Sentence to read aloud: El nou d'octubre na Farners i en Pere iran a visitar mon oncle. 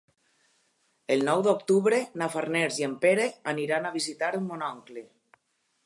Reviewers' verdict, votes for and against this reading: rejected, 0, 2